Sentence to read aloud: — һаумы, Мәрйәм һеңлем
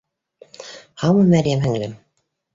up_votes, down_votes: 2, 0